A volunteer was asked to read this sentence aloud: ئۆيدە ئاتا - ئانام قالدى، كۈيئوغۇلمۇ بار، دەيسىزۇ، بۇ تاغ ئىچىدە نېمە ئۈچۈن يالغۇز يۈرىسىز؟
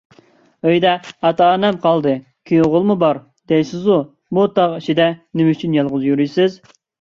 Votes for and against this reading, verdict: 1, 2, rejected